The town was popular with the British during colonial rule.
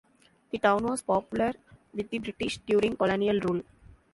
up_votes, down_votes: 1, 2